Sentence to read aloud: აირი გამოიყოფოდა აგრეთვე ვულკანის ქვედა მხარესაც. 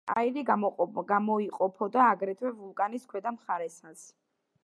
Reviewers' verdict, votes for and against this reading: accepted, 2, 1